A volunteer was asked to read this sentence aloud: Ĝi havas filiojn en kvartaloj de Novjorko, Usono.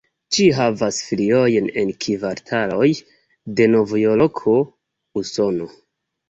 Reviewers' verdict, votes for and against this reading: accepted, 2, 1